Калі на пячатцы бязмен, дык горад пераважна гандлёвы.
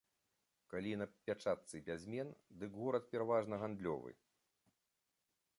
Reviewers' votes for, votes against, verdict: 3, 0, accepted